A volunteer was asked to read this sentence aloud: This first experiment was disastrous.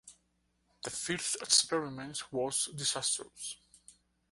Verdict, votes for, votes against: accepted, 2, 0